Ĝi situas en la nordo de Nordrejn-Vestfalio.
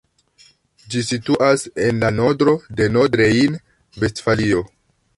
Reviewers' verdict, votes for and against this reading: rejected, 1, 2